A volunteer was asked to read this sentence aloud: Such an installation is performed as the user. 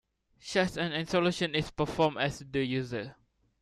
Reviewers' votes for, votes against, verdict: 0, 2, rejected